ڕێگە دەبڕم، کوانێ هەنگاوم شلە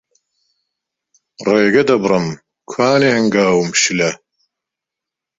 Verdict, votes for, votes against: accepted, 2, 0